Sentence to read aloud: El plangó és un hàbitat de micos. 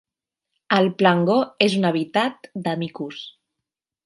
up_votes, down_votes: 1, 2